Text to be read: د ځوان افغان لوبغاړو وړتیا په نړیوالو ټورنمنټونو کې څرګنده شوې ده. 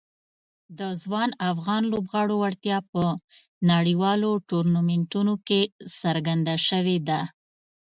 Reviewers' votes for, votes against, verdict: 2, 0, accepted